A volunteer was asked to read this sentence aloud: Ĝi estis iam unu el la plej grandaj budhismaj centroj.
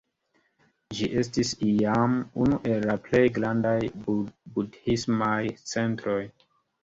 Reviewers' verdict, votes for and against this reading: accepted, 3, 1